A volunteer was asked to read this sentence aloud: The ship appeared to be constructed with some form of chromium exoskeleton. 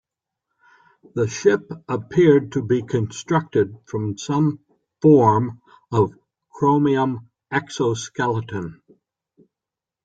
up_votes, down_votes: 2, 4